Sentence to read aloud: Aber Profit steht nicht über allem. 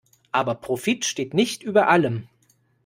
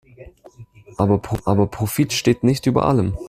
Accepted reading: first